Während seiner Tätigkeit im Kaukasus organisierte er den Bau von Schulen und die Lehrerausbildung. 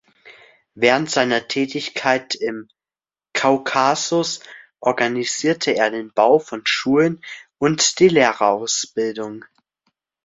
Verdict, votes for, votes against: accepted, 2, 0